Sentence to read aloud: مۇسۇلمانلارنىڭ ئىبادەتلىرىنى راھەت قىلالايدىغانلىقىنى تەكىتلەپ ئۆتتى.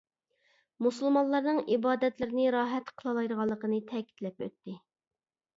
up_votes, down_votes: 2, 0